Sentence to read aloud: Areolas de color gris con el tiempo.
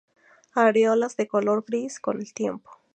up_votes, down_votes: 2, 0